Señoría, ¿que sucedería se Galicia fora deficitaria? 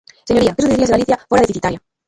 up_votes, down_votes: 0, 2